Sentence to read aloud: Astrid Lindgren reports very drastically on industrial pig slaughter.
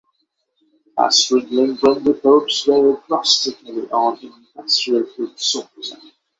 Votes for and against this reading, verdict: 6, 3, accepted